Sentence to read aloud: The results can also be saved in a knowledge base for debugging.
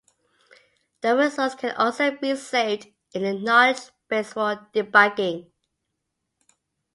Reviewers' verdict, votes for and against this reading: accepted, 2, 0